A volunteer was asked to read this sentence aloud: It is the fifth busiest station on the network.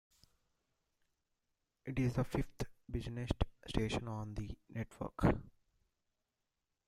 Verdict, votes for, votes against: accepted, 2, 0